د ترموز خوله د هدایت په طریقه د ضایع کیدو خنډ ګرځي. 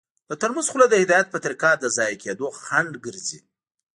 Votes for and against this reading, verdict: 0, 2, rejected